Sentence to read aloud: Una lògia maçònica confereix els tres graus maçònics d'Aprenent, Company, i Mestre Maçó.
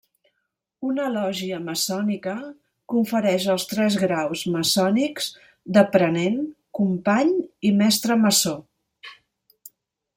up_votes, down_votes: 2, 0